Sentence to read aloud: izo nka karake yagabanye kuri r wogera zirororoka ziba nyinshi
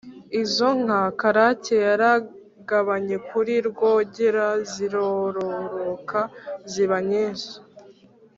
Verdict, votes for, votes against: rejected, 0, 2